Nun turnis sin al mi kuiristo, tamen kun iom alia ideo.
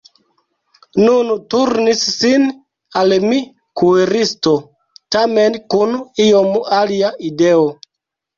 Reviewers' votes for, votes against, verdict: 2, 1, accepted